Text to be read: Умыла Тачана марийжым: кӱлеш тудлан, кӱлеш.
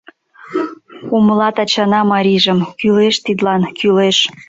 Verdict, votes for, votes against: rejected, 0, 2